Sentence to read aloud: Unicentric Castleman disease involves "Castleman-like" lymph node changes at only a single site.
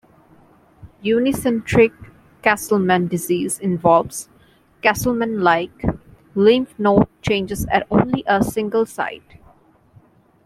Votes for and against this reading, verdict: 1, 2, rejected